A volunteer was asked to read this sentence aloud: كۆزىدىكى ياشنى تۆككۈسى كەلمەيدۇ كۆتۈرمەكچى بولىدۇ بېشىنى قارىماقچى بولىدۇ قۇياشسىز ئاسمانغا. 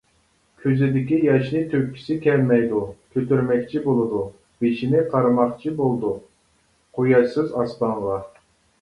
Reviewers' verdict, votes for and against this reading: accepted, 2, 1